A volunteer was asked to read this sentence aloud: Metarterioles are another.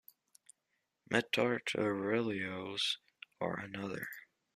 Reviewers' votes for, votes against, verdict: 2, 1, accepted